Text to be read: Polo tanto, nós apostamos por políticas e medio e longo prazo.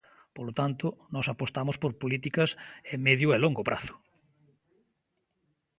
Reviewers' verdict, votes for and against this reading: accepted, 2, 0